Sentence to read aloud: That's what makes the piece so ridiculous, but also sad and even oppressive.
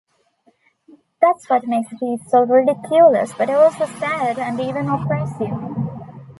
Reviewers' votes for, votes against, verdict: 1, 2, rejected